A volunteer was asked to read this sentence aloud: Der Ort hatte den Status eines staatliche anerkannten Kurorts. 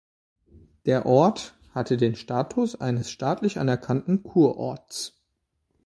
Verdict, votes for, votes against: accepted, 2, 0